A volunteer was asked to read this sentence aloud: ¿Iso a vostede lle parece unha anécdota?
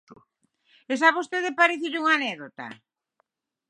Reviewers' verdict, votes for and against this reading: accepted, 6, 3